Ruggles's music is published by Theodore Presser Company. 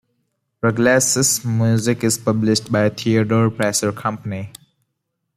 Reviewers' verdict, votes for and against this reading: accepted, 2, 0